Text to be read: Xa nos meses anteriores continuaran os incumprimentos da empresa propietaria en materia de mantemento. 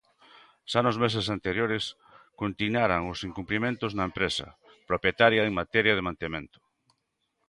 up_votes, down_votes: 0, 2